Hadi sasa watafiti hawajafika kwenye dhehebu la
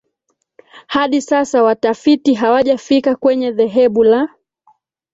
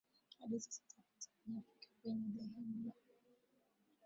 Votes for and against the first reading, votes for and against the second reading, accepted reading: 2, 1, 0, 2, first